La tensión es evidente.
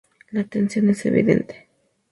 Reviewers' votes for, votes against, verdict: 2, 0, accepted